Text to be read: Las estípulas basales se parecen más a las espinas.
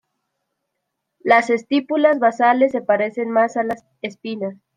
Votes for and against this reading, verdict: 2, 0, accepted